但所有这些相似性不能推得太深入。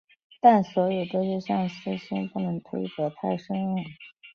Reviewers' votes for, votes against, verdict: 2, 0, accepted